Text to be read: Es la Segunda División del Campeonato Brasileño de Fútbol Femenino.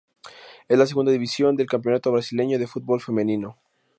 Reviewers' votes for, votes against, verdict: 2, 0, accepted